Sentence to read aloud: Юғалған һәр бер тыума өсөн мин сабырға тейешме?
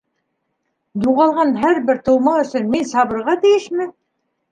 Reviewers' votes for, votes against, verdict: 2, 0, accepted